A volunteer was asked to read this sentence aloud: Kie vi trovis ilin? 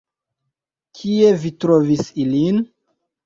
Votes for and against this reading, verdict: 2, 1, accepted